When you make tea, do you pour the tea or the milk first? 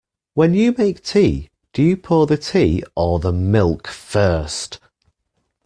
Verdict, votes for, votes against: accepted, 2, 0